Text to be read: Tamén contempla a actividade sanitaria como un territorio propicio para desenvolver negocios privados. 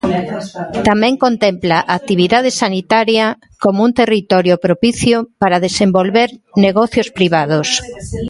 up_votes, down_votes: 2, 3